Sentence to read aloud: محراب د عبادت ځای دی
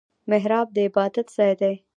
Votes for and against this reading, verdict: 1, 2, rejected